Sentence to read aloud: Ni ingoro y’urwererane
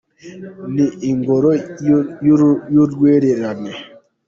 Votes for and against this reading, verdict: 1, 2, rejected